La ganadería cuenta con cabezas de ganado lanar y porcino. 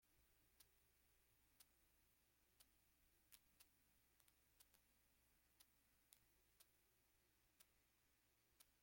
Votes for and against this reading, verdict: 0, 2, rejected